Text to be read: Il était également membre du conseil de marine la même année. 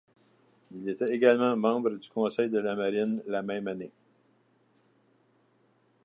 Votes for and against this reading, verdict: 1, 2, rejected